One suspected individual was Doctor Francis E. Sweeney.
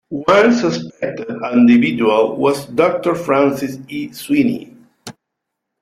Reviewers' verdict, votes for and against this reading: accepted, 2, 1